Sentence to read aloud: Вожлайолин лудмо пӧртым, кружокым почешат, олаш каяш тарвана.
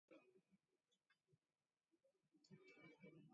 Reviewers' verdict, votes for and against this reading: accepted, 2, 0